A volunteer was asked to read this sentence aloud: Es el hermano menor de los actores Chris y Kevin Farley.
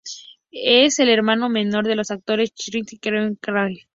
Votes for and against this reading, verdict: 0, 2, rejected